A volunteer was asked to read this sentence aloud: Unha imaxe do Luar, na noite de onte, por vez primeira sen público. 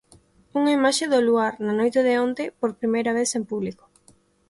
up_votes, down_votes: 1, 2